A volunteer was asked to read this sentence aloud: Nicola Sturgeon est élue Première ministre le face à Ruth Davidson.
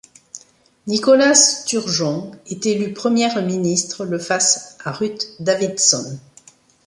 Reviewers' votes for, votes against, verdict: 0, 2, rejected